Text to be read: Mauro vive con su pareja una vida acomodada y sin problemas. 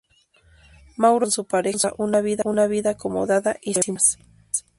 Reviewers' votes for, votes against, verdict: 0, 4, rejected